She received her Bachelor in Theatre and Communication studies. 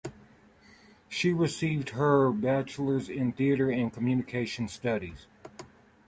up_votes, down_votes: 4, 2